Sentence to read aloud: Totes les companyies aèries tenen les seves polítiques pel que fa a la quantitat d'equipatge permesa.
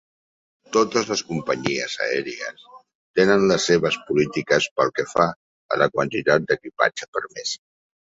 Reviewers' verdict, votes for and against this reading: rejected, 2, 4